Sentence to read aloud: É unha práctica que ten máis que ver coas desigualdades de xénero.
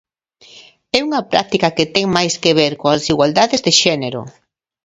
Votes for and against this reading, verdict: 2, 0, accepted